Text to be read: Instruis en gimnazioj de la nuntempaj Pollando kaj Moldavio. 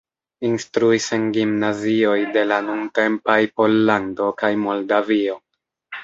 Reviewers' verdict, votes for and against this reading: accepted, 2, 1